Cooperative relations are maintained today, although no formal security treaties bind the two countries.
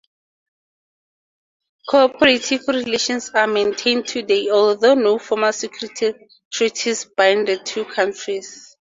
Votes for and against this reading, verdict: 2, 0, accepted